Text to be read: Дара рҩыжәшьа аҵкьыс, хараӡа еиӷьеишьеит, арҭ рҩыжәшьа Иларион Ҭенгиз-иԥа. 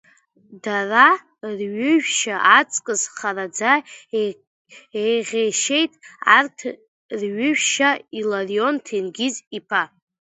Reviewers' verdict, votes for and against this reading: rejected, 0, 2